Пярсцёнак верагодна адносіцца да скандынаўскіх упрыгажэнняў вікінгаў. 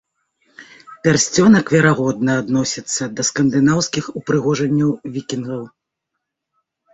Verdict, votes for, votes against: rejected, 0, 2